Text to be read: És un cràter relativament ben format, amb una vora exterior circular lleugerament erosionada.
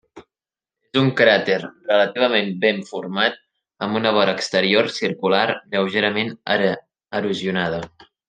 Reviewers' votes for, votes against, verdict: 1, 2, rejected